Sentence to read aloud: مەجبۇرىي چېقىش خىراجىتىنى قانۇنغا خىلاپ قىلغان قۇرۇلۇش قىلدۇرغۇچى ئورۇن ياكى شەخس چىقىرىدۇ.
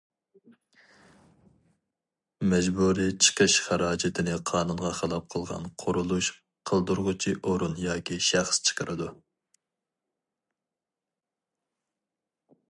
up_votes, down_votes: 2, 0